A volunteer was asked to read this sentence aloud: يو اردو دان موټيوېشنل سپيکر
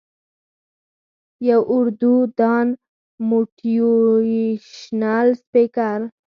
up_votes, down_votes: 4, 0